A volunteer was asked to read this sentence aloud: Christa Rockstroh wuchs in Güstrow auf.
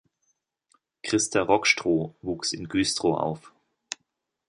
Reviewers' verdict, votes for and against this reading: accepted, 2, 0